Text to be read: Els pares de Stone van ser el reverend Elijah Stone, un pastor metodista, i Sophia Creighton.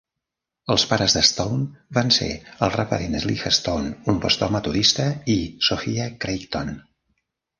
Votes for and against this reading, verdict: 1, 2, rejected